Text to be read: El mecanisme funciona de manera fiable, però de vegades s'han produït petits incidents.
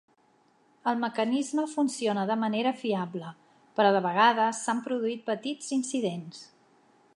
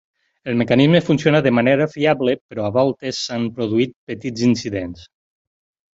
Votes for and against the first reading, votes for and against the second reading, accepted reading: 4, 0, 0, 4, first